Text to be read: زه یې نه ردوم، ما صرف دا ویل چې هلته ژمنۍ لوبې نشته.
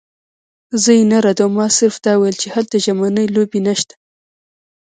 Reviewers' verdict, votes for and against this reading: rejected, 1, 2